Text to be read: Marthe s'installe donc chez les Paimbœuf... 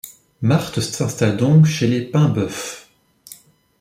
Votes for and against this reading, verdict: 0, 2, rejected